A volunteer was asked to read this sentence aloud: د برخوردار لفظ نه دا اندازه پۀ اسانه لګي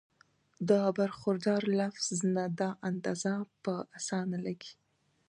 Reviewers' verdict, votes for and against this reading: accepted, 2, 0